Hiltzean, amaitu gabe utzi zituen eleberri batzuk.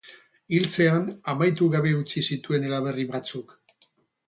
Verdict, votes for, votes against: rejected, 2, 6